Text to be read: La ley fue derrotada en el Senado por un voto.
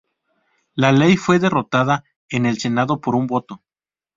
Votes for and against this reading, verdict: 2, 0, accepted